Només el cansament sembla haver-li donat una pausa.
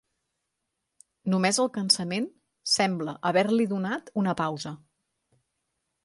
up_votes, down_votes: 3, 0